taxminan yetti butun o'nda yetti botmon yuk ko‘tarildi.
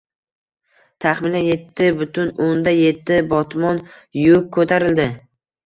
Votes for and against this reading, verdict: 1, 2, rejected